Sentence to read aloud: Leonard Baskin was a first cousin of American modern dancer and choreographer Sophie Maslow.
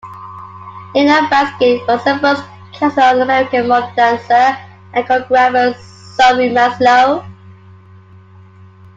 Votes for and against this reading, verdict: 1, 2, rejected